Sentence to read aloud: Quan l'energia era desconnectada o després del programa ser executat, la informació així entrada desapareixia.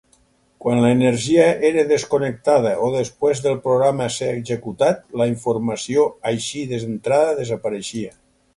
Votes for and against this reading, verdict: 2, 4, rejected